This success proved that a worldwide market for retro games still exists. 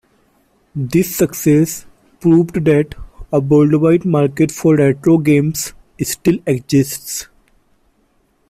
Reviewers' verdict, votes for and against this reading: rejected, 1, 2